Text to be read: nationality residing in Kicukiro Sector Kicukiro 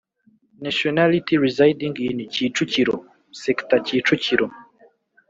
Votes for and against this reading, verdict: 1, 3, rejected